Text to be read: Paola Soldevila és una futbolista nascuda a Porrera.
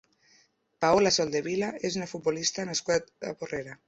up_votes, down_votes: 1, 2